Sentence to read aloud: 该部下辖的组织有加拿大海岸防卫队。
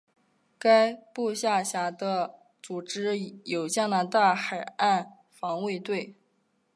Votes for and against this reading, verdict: 0, 2, rejected